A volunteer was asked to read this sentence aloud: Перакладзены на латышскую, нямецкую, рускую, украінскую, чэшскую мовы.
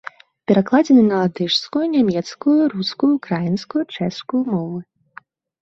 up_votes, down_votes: 2, 0